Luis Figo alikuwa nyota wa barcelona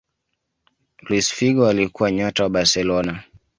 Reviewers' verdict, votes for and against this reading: accepted, 2, 1